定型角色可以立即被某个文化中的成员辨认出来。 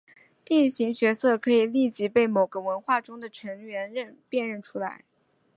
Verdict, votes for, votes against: accepted, 3, 2